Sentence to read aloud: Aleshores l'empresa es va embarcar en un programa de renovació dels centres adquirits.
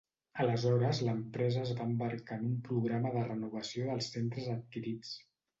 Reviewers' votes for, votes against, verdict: 1, 2, rejected